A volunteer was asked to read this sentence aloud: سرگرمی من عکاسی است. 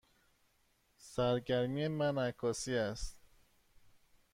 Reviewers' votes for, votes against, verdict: 2, 0, accepted